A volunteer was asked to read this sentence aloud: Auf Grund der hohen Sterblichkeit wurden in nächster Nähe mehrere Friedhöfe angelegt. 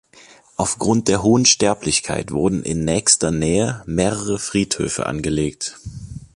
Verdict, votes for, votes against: accepted, 2, 0